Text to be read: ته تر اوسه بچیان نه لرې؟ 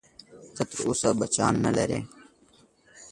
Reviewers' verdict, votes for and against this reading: accepted, 3, 0